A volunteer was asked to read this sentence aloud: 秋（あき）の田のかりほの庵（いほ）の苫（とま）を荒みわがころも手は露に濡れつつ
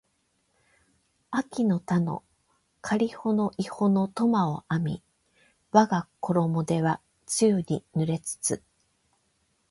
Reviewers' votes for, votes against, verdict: 8, 0, accepted